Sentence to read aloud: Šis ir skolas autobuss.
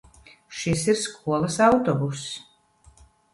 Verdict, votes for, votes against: accepted, 3, 0